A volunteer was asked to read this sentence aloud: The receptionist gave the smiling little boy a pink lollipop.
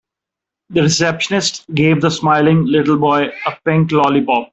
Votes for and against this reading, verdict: 2, 0, accepted